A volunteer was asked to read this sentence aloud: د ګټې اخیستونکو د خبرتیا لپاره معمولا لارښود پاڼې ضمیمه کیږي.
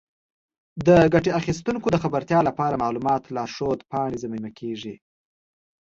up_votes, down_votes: 2, 0